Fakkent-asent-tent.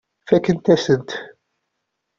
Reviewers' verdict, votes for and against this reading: rejected, 0, 2